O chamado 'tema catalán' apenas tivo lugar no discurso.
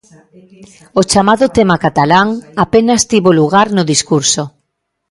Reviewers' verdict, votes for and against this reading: accepted, 2, 1